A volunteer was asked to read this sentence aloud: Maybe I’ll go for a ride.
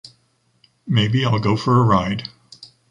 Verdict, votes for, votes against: accepted, 2, 0